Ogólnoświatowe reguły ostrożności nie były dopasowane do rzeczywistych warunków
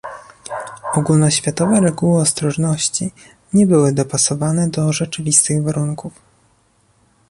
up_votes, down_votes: 2, 0